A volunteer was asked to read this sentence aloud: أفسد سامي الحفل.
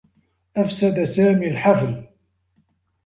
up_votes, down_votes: 2, 1